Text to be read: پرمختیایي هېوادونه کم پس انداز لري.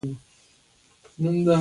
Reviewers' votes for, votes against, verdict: 2, 1, accepted